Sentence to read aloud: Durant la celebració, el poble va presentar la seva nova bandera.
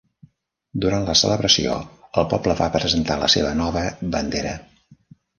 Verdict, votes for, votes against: accepted, 3, 0